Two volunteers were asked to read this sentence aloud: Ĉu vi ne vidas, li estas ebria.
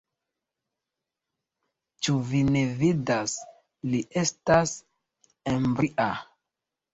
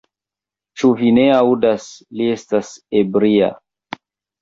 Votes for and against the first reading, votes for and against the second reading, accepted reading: 2, 1, 0, 2, first